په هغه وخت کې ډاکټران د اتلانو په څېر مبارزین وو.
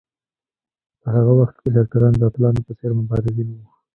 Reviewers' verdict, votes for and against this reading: rejected, 1, 2